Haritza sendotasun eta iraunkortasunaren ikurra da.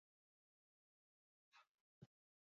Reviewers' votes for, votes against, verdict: 0, 2, rejected